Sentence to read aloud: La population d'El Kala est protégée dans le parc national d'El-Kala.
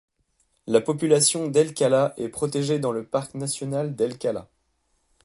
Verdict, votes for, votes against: accepted, 2, 0